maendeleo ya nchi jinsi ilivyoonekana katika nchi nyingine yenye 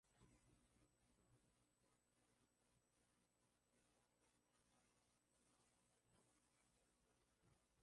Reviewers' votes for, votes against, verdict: 0, 5, rejected